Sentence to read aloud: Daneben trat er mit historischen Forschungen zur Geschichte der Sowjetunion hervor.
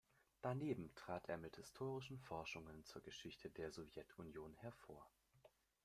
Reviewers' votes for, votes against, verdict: 2, 1, accepted